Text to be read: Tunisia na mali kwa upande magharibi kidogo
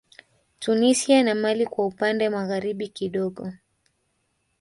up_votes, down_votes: 2, 1